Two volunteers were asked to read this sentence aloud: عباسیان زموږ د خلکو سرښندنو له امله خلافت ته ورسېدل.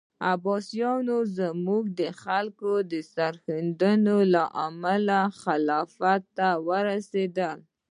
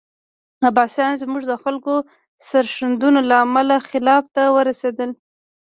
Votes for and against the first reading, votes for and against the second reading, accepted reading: 2, 0, 0, 2, first